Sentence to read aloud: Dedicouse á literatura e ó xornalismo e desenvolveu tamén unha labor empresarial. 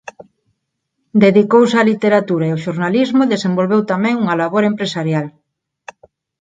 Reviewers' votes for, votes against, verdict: 4, 0, accepted